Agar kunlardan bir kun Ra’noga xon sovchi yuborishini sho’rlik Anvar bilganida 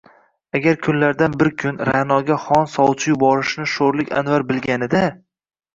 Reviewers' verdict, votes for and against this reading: rejected, 1, 2